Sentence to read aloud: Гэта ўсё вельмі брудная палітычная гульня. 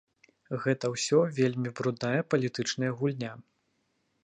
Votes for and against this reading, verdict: 0, 2, rejected